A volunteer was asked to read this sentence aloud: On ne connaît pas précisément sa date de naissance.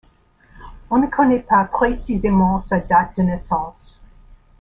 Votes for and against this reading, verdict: 1, 2, rejected